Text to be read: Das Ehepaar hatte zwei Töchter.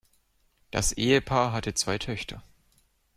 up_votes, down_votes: 2, 0